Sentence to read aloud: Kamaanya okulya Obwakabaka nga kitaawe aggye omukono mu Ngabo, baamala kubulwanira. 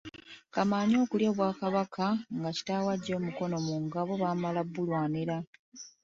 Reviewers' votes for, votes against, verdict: 0, 2, rejected